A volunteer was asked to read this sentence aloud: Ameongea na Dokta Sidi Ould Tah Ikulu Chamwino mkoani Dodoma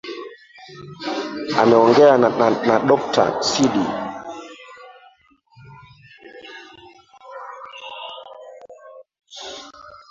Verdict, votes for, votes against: rejected, 0, 2